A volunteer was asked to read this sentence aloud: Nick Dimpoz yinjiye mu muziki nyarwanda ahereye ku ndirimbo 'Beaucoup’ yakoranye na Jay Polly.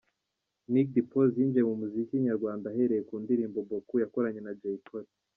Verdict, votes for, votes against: accepted, 2, 1